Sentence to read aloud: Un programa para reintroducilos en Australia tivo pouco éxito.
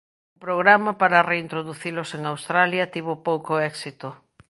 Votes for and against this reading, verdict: 0, 2, rejected